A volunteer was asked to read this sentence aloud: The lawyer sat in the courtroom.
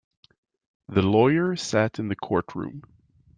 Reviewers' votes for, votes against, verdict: 2, 0, accepted